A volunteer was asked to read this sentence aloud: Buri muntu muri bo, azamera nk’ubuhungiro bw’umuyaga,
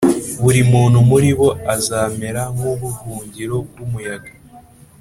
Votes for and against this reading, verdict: 4, 0, accepted